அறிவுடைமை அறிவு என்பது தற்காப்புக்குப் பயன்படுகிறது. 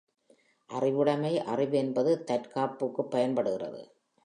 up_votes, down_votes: 3, 1